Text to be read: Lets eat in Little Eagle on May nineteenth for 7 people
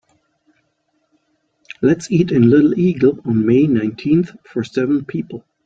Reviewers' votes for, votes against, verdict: 0, 2, rejected